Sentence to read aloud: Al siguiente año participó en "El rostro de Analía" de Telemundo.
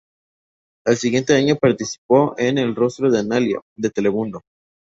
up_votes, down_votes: 2, 0